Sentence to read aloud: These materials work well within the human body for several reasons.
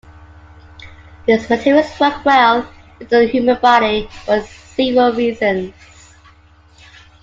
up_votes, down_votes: 2, 0